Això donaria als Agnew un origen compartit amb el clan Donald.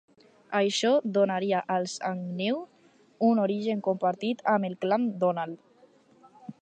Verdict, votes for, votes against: accepted, 4, 0